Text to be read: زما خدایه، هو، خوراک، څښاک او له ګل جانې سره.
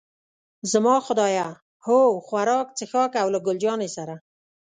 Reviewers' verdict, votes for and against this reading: accepted, 2, 0